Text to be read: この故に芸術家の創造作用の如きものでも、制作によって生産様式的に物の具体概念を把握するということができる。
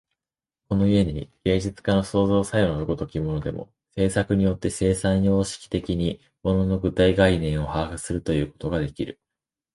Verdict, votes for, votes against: accepted, 2, 0